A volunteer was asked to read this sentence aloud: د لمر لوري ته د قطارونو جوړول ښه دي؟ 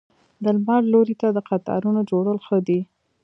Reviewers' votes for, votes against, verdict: 1, 2, rejected